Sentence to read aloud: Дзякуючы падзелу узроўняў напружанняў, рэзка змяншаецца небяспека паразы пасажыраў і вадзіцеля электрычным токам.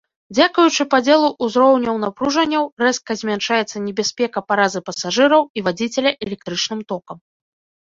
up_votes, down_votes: 2, 0